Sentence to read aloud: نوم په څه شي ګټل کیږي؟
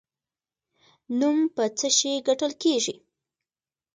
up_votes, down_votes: 1, 2